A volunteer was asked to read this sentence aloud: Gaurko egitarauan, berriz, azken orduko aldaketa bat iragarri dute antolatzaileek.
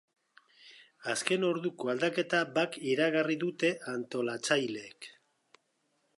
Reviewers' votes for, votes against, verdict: 0, 2, rejected